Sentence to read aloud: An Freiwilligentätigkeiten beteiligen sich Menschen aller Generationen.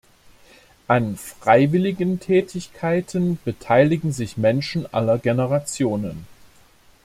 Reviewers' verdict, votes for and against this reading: accepted, 2, 0